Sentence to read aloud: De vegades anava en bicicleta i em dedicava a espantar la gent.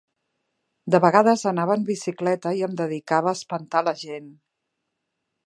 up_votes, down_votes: 2, 0